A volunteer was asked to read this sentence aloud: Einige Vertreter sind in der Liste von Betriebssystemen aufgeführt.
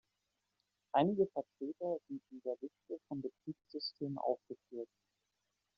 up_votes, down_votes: 2, 0